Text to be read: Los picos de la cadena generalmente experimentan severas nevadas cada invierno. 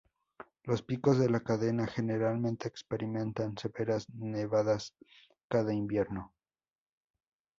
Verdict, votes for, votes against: accepted, 4, 0